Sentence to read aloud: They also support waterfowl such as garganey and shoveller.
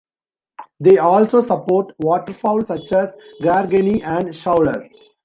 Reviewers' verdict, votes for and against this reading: rejected, 1, 2